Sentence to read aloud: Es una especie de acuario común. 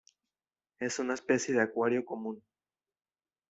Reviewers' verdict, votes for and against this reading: accepted, 2, 0